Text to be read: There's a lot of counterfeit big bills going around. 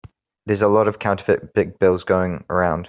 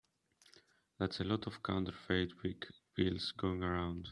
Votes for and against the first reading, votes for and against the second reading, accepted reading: 2, 0, 1, 2, first